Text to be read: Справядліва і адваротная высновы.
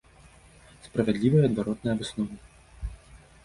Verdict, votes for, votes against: accepted, 2, 0